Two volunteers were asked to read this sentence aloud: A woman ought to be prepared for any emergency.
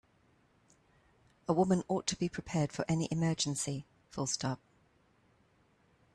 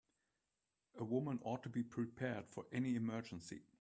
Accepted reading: second